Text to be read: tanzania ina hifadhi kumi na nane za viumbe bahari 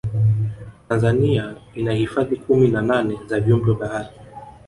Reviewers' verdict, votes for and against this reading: rejected, 0, 2